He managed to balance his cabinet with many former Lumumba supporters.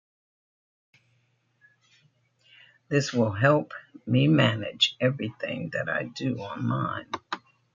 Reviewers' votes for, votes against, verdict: 1, 2, rejected